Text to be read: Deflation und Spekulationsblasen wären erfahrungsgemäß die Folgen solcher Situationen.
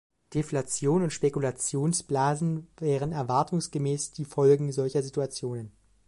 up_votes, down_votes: 2, 0